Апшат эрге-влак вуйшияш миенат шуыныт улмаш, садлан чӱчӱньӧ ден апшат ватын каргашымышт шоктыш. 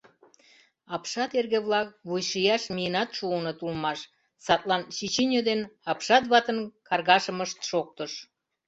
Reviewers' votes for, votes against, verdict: 2, 0, accepted